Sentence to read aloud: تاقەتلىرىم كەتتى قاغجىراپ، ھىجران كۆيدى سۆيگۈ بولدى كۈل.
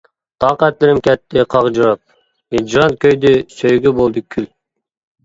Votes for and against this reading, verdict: 2, 0, accepted